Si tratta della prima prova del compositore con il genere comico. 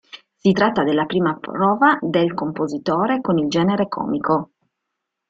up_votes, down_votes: 2, 1